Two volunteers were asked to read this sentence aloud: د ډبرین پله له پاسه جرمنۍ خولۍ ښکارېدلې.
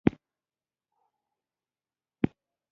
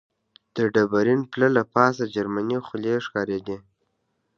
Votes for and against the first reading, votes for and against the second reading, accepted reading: 1, 2, 2, 1, second